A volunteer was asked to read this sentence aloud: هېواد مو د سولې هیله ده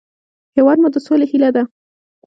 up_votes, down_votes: 2, 0